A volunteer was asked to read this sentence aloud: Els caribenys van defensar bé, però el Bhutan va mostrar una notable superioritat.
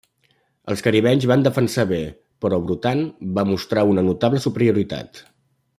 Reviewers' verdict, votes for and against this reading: rejected, 1, 2